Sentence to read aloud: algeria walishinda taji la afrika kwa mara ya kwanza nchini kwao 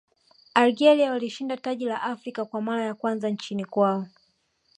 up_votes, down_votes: 1, 2